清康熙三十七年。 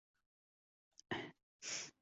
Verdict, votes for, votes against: rejected, 0, 2